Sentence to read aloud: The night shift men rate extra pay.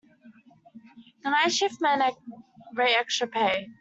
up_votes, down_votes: 0, 2